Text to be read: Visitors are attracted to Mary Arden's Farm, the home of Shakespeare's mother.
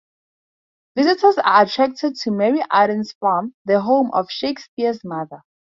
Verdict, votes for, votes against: accepted, 2, 0